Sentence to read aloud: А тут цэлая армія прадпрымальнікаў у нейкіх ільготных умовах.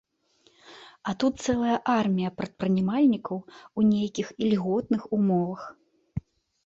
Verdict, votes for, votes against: rejected, 1, 2